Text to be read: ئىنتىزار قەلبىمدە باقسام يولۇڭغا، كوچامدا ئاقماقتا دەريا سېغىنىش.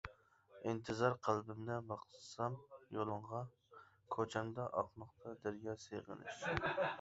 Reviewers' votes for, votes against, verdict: 0, 2, rejected